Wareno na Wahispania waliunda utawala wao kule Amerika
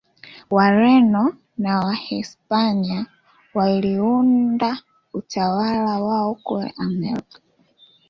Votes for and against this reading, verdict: 2, 0, accepted